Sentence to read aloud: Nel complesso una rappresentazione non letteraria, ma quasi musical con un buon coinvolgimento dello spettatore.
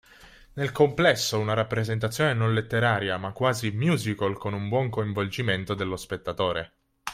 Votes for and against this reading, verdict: 2, 0, accepted